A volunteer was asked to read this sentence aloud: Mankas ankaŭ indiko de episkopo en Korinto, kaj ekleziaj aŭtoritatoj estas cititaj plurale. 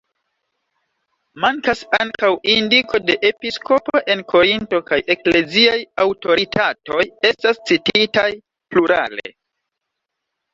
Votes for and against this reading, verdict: 1, 2, rejected